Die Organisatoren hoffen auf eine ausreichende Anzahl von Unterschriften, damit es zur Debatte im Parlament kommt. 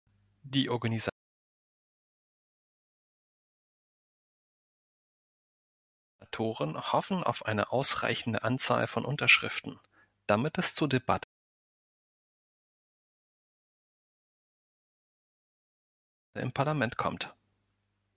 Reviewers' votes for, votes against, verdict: 1, 2, rejected